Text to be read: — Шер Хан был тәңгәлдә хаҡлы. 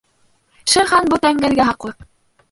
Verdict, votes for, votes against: rejected, 0, 2